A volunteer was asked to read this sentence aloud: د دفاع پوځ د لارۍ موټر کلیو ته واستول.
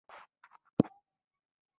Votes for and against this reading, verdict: 0, 2, rejected